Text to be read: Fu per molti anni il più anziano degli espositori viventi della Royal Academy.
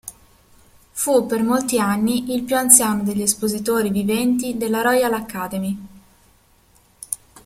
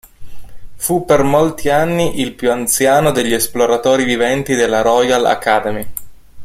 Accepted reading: first